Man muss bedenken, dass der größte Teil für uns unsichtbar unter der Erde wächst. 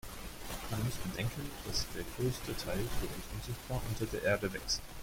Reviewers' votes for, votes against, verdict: 0, 2, rejected